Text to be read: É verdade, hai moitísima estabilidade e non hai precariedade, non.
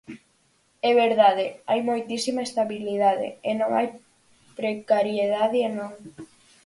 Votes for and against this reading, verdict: 2, 4, rejected